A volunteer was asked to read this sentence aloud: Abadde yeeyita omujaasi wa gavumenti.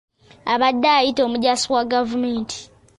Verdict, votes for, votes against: accepted, 2, 0